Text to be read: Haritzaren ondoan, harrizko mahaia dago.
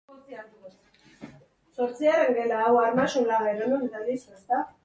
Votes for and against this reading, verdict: 0, 3, rejected